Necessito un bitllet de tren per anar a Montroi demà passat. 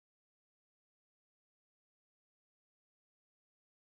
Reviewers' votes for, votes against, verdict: 0, 2, rejected